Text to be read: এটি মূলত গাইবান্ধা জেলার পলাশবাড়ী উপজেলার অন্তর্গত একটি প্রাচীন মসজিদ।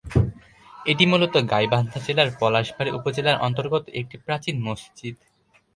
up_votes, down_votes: 2, 4